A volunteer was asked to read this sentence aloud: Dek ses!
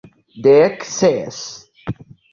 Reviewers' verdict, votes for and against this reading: accepted, 2, 0